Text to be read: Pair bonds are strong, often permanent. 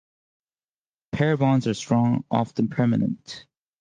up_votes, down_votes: 2, 0